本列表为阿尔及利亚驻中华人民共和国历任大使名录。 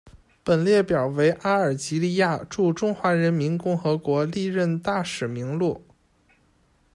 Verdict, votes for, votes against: accepted, 2, 0